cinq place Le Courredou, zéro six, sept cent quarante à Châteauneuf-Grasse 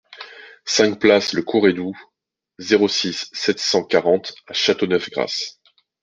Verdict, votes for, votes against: accepted, 2, 0